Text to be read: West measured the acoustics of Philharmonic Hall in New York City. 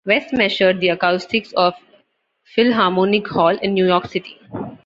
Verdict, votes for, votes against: rejected, 1, 2